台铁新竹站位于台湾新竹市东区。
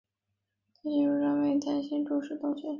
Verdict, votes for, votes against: rejected, 0, 2